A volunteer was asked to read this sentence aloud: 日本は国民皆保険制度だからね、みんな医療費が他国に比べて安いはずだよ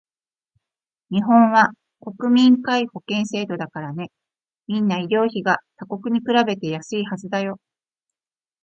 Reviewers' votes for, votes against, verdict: 2, 0, accepted